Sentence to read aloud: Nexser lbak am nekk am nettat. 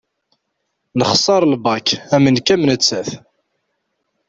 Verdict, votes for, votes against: accepted, 2, 0